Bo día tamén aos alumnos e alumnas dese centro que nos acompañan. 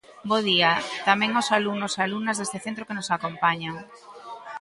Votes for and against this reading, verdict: 2, 0, accepted